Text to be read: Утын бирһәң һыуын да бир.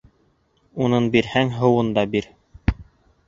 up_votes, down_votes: 1, 2